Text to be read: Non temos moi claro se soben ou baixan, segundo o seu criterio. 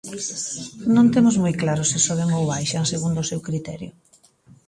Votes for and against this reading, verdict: 1, 2, rejected